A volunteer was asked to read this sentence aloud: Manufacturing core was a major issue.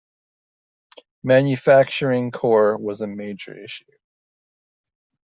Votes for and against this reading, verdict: 2, 1, accepted